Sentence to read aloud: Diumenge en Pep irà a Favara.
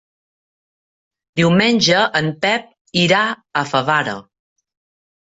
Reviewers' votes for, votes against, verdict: 3, 0, accepted